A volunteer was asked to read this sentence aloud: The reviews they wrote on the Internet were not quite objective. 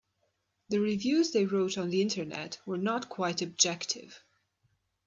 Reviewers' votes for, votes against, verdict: 2, 0, accepted